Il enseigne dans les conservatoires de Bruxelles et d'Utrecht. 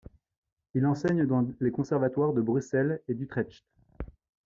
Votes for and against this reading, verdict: 1, 2, rejected